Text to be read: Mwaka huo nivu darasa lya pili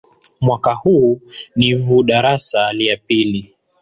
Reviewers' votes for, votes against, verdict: 2, 0, accepted